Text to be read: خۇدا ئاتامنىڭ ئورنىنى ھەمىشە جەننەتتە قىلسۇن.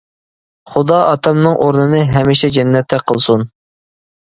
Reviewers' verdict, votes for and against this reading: accepted, 2, 0